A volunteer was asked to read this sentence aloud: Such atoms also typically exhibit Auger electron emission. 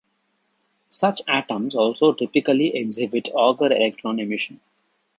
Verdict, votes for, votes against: accepted, 2, 0